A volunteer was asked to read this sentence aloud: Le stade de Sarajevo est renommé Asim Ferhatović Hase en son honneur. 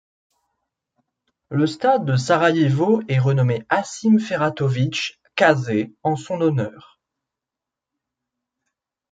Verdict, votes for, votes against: accepted, 2, 0